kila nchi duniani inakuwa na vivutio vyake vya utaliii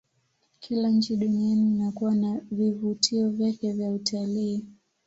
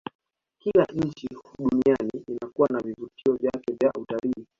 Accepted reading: first